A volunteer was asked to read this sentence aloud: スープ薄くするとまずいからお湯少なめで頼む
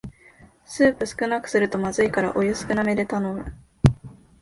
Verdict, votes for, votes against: rejected, 3, 4